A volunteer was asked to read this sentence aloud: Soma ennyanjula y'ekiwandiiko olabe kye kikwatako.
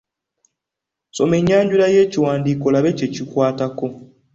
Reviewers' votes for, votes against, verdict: 2, 0, accepted